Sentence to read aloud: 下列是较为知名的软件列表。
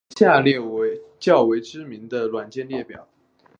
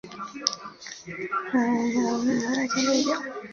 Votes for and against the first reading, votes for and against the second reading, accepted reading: 3, 1, 1, 3, first